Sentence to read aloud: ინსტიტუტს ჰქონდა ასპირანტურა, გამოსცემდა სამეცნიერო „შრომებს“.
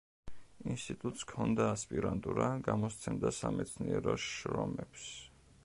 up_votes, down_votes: 2, 0